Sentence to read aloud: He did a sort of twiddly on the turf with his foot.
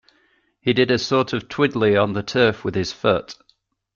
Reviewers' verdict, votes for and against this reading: accepted, 2, 0